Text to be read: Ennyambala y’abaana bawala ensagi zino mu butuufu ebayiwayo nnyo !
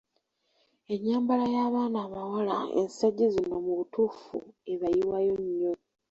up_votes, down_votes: 1, 2